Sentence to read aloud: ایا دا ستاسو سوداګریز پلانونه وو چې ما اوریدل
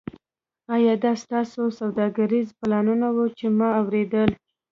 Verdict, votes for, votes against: accepted, 2, 1